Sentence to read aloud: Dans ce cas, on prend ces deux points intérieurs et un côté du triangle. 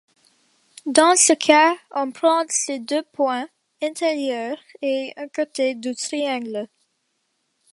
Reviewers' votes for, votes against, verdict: 1, 2, rejected